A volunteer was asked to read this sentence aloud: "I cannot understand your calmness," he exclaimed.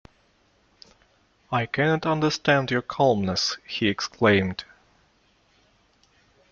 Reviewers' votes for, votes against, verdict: 2, 0, accepted